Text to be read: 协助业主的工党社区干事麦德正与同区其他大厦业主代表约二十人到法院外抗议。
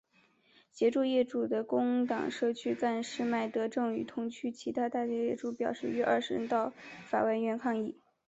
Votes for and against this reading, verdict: 2, 0, accepted